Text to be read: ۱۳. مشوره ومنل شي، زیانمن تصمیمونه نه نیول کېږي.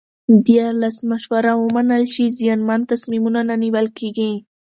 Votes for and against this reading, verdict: 0, 2, rejected